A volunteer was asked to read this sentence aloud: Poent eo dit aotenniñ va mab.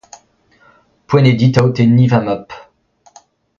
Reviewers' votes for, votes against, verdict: 2, 0, accepted